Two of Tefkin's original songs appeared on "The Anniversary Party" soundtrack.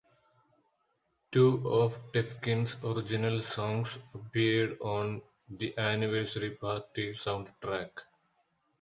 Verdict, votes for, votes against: accepted, 2, 0